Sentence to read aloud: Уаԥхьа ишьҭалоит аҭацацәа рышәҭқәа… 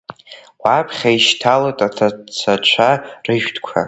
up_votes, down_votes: 0, 2